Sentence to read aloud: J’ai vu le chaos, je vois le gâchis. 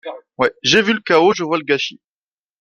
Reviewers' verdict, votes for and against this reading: rejected, 1, 2